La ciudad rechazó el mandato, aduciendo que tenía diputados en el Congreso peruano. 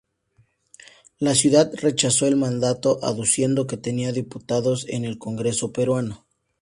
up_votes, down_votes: 2, 0